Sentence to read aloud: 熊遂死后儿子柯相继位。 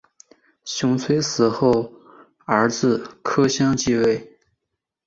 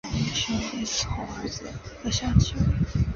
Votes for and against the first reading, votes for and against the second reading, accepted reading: 2, 0, 1, 2, first